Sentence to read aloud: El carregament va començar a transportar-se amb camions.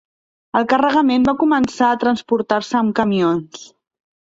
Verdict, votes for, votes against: accepted, 2, 0